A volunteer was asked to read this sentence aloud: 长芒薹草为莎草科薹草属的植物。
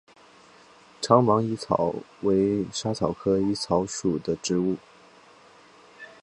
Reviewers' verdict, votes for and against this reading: accepted, 8, 0